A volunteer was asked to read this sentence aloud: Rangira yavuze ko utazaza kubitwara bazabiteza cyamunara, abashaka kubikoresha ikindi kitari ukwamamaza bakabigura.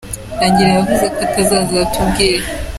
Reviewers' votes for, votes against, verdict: 0, 2, rejected